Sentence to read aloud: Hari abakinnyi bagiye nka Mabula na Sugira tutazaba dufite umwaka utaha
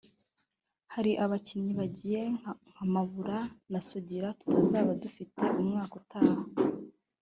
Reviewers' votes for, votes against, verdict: 1, 2, rejected